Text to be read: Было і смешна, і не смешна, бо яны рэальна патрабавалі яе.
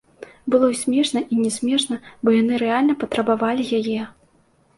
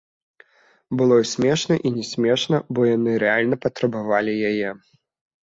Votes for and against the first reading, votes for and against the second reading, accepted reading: 3, 1, 0, 2, first